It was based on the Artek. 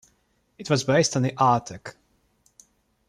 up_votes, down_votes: 2, 0